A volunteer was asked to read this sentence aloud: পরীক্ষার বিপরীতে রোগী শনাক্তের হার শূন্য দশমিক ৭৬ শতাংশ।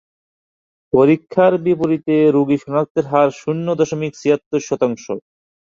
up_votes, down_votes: 0, 2